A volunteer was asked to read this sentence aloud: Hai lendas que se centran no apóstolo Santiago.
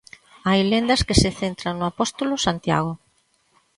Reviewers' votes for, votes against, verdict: 3, 0, accepted